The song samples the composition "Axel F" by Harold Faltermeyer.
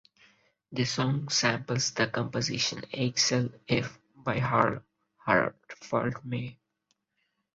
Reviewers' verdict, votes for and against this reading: rejected, 0, 6